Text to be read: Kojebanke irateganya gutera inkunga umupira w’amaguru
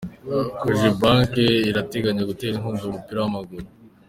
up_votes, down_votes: 2, 0